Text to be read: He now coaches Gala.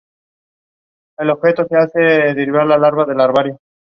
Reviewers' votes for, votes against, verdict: 0, 2, rejected